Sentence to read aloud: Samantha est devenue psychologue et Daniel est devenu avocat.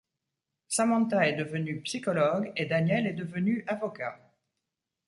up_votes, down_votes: 2, 0